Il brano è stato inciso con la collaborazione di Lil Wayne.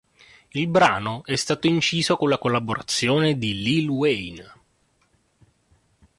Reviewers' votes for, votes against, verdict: 2, 0, accepted